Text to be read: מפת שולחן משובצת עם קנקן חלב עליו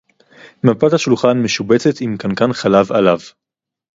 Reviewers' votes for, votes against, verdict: 0, 2, rejected